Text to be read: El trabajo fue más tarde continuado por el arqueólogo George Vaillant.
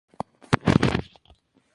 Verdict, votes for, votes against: rejected, 0, 4